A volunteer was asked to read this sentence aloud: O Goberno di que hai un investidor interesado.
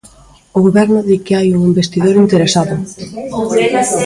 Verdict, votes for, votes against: rejected, 0, 2